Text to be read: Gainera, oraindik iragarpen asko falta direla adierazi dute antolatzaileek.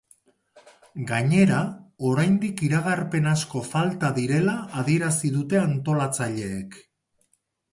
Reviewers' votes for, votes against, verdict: 6, 0, accepted